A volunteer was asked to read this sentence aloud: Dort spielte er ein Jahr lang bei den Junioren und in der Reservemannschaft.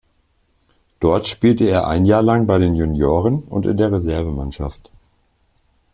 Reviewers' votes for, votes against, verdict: 2, 0, accepted